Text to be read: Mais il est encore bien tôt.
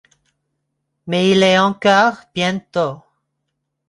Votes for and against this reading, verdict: 2, 0, accepted